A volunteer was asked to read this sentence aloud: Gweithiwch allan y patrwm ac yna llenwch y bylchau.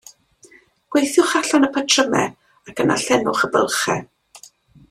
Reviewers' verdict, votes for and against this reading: rejected, 0, 2